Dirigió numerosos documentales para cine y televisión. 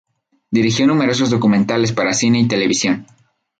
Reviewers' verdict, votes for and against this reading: accepted, 4, 0